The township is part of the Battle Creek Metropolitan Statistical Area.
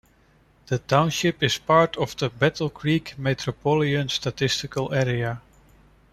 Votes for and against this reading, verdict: 1, 2, rejected